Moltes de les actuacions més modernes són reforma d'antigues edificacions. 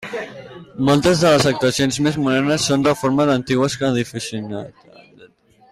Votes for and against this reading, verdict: 0, 2, rejected